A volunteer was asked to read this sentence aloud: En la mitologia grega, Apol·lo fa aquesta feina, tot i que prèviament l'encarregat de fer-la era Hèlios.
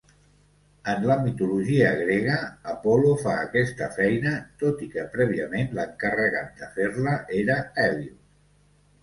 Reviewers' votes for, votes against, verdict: 3, 0, accepted